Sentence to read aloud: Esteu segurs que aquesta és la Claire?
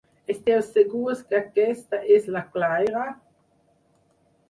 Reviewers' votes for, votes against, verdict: 2, 4, rejected